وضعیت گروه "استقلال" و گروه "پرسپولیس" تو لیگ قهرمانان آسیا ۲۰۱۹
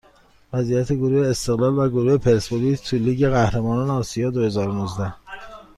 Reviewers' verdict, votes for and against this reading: rejected, 0, 2